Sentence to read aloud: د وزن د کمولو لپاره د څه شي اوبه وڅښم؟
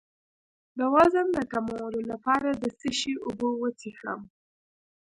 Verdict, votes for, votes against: rejected, 1, 2